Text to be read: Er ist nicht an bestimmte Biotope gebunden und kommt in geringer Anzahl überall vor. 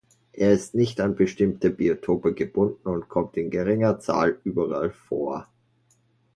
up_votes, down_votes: 0, 2